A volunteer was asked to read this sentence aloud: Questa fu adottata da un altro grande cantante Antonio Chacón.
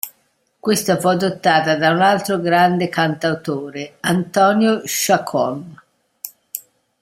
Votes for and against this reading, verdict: 0, 2, rejected